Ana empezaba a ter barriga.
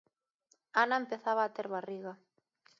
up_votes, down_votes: 2, 0